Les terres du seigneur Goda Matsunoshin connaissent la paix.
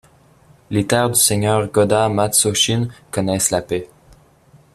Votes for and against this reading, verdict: 1, 2, rejected